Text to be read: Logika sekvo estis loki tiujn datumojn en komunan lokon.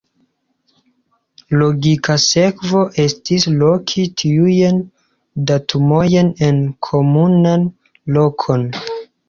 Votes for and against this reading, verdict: 2, 0, accepted